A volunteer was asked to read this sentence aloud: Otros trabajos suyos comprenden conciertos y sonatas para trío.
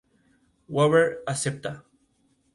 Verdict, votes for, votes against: rejected, 0, 2